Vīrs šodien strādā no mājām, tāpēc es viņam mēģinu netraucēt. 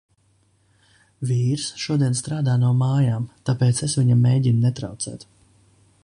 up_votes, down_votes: 2, 0